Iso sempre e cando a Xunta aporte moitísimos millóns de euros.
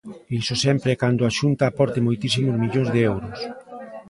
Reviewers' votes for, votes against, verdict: 1, 2, rejected